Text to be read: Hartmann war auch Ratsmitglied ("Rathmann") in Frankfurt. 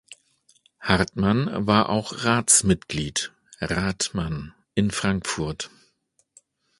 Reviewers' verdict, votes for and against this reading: accepted, 2, 0